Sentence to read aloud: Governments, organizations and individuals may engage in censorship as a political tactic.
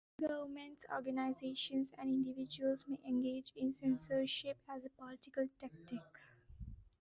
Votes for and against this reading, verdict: 0, 2, rejected